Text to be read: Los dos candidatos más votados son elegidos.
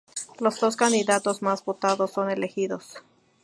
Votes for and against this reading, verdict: 2, 0, accepted